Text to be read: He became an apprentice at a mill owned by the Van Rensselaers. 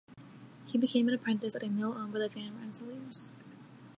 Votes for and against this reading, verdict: 2, 3, rejected